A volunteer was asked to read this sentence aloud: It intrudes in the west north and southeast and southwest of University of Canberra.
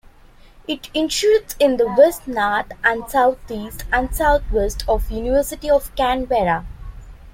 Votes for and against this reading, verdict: 2, 0, accepted